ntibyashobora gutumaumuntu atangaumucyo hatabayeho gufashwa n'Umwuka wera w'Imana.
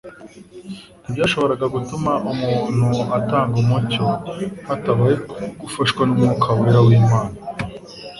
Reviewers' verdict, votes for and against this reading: accepted, 2, 0